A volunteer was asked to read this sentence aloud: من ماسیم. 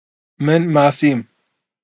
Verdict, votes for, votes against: accepted, 2, 0